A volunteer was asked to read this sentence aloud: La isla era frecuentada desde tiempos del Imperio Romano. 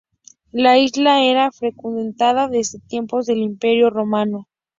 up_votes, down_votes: 0, 2